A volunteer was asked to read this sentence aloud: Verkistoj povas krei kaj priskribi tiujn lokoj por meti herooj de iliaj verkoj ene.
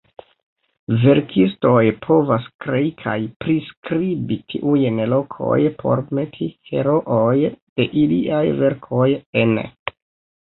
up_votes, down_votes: 1, 2